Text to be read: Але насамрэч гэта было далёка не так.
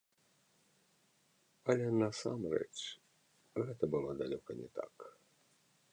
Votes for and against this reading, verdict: 1, 2, rejected